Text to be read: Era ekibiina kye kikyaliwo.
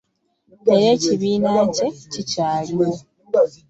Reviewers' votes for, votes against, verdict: 2, 0, accepted